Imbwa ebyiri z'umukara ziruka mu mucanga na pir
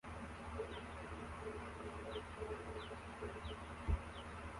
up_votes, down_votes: 0, 2